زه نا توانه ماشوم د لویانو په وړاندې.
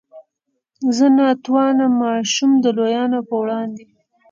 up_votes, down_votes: 2, 0